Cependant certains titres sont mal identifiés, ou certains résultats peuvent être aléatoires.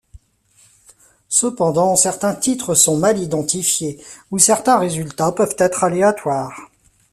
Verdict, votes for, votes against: rejected, 0, 2